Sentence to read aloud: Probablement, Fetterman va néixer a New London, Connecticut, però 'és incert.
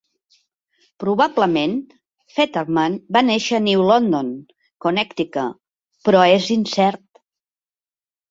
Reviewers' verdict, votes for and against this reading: accepted, 2, 1